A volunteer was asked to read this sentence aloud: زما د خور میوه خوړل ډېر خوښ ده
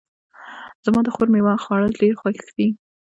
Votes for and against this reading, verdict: 1, 2, rejected